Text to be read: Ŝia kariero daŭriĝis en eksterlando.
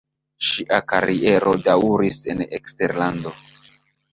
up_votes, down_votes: 0, 2